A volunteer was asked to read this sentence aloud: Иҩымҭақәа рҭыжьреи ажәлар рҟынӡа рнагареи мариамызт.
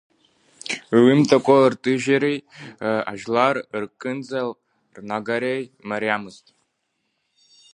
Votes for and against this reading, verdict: 1, 2, rejected